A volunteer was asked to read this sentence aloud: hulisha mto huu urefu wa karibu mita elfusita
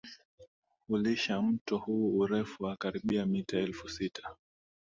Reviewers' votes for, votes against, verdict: 2, 1, accepted